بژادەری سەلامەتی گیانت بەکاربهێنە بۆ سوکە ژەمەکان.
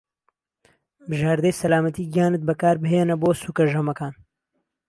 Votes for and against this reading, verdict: 1, 2, rejected